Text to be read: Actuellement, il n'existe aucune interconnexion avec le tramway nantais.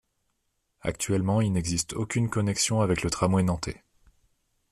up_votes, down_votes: 0, 2